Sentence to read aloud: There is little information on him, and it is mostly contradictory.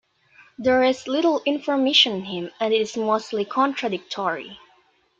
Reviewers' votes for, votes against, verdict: 1, 2, rejected